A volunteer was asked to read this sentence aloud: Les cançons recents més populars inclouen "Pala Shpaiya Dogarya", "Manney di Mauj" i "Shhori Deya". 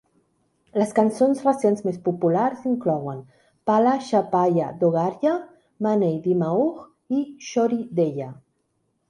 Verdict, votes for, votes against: rejected, 1, 2